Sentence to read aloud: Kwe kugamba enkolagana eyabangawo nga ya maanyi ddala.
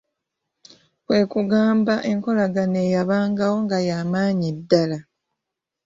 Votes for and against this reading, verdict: 1, 2, rejected